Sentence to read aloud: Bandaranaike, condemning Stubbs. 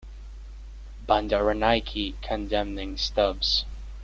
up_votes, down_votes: 1, 2